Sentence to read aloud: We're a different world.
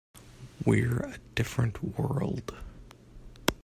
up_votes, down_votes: 3, 0